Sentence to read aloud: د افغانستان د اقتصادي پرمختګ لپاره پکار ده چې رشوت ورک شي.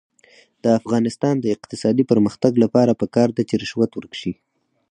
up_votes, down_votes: 4, 2